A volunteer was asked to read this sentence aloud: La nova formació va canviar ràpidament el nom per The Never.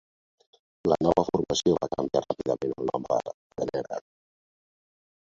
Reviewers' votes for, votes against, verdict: 1, 2, rejected